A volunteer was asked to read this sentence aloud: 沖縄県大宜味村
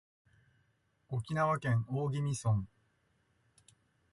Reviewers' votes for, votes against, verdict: 2, 1, accepted